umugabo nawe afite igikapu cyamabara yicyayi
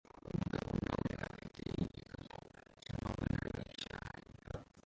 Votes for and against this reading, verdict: 0, 2, rejected